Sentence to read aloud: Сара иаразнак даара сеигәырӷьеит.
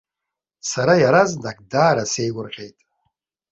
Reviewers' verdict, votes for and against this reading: accepted, 2, 0